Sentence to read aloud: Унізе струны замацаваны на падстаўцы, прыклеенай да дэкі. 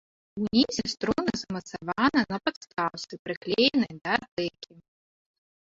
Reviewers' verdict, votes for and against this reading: rejected, 0, 2